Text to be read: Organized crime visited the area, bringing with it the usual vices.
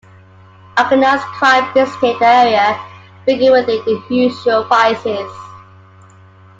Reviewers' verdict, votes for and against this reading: rejected, 0, 2